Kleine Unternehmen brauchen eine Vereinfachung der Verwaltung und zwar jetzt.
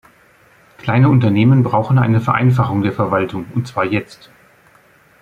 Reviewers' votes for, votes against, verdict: 2, 0, accepted